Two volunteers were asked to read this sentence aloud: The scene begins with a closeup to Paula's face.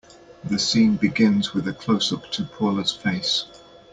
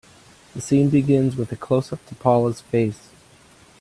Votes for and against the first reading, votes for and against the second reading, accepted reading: 2, 0, 1, 2, first